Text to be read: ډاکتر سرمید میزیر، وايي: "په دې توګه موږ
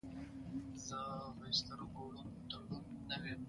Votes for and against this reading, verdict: 0, 2, rejected